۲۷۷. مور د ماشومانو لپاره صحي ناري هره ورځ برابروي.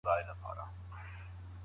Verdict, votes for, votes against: rejected, 0, 2